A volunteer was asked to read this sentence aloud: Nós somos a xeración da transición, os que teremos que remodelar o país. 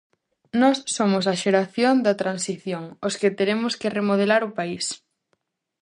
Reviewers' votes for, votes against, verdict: 2, 0, accepted